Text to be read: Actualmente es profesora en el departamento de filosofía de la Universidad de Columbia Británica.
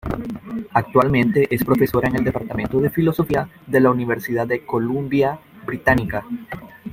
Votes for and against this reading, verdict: 2, 1, accepted